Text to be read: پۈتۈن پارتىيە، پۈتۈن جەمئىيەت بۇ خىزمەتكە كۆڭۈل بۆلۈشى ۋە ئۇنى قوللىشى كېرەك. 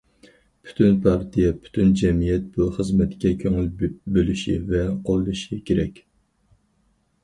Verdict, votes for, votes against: rejected, 0, 4